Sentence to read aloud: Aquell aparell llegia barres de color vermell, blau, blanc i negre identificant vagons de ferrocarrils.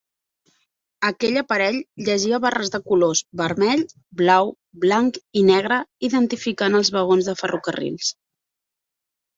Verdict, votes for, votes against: rejected, 1, 2